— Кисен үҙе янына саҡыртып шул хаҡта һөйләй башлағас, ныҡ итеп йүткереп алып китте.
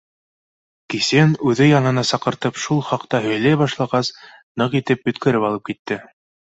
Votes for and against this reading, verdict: 2, 0, accepted